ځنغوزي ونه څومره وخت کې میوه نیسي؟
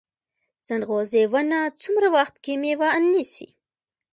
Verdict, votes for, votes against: rejected, 0, 2